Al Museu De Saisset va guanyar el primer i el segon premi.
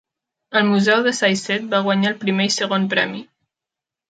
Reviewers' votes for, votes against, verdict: 0, 2, rejected